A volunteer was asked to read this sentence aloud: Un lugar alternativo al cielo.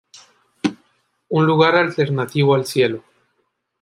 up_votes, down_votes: 3, 0